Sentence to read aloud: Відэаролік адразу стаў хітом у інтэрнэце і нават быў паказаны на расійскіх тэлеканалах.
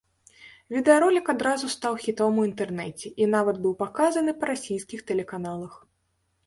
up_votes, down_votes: 0, 2